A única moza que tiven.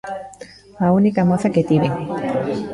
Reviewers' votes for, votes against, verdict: 1, 2, rejected